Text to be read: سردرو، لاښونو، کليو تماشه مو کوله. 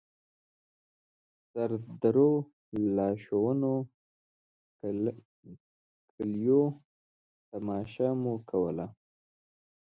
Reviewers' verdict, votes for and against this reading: rejected, 1, 2